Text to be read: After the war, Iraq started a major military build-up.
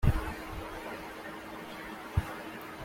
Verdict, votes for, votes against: rejected, 0, 2